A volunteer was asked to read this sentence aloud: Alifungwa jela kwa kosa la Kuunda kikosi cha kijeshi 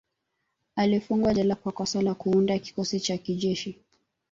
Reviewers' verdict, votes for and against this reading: accepted, 2, 0